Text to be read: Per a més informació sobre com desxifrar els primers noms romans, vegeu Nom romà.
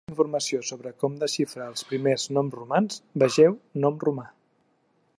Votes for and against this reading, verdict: 0, 2, rejected